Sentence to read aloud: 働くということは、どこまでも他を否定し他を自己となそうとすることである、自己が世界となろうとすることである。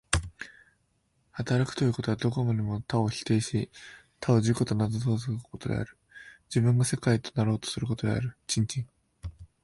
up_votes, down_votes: 0, 2